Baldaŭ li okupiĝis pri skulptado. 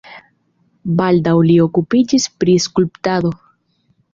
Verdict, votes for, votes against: accepted, 3, 0